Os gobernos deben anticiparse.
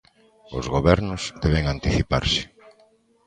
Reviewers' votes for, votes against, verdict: 1, 2, rejected